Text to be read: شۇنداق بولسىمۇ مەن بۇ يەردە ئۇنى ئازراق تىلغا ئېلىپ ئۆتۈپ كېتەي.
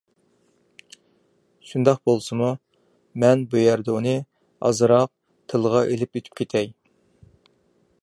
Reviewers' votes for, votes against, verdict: 2, 0, accepted